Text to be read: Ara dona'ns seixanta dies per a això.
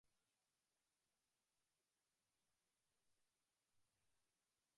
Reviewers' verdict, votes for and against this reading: rejected, 0, 2